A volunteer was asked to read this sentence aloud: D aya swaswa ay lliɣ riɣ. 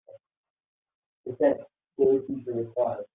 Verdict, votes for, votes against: rejected, 0, 3